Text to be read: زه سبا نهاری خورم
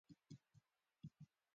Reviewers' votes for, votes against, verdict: 1, 2, rejected